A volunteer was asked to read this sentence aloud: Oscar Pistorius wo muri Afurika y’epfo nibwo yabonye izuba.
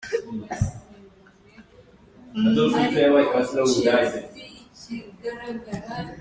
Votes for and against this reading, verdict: 0, 2, rejected